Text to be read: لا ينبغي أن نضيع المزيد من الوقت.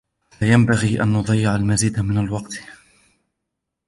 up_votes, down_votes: 2, 0